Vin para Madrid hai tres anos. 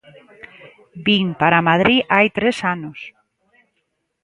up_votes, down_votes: 2, 0